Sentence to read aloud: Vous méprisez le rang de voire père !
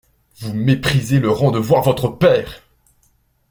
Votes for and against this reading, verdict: 1, 2, rejected